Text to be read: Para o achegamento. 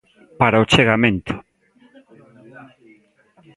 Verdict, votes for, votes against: accepted, 2, 0